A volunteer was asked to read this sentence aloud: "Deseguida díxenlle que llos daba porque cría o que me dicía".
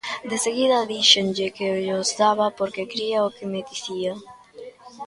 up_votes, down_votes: 1, 2